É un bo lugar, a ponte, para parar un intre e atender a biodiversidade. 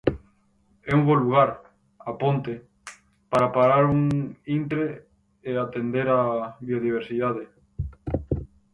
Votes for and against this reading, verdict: 0, 4, rejected